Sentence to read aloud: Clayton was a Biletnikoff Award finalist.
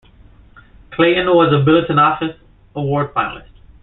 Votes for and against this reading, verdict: 0, 2, rejected